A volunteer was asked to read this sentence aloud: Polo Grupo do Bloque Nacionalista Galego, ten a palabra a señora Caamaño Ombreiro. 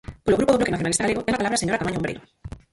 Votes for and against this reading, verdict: 0, 4, rejected